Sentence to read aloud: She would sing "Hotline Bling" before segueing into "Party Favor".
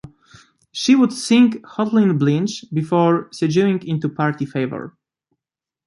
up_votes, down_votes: 1, 2